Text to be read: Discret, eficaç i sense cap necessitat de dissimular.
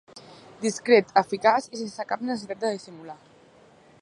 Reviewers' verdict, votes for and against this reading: accepted, 2, 0